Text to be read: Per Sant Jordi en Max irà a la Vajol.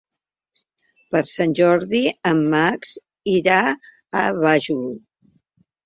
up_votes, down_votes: 0, 2